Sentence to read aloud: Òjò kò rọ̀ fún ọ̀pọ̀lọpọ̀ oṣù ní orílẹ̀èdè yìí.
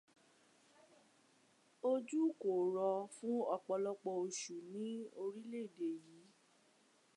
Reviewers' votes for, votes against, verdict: 1, 2, rejected